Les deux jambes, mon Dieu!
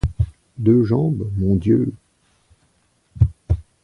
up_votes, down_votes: 1, 2